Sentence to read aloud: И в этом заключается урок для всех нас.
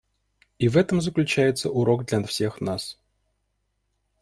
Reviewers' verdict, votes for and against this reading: rejected, 1, 2